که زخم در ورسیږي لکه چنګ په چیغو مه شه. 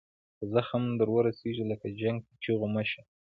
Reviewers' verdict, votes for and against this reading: accepted, 2, 0